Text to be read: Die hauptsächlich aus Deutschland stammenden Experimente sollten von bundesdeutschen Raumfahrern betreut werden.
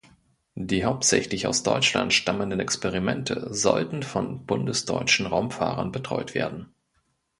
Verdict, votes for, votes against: accepted, 2, 0